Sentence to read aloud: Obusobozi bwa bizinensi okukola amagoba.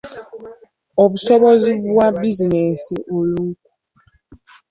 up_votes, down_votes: 0, 2